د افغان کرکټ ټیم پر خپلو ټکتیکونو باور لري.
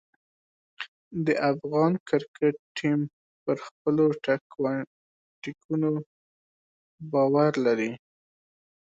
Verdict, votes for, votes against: rejected, 1, 2